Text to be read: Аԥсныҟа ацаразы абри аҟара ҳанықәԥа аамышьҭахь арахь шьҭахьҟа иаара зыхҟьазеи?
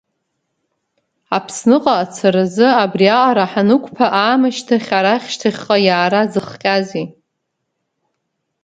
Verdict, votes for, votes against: accepted, 2, 0